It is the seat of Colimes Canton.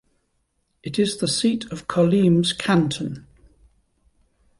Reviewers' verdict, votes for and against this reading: accepted, 2, 0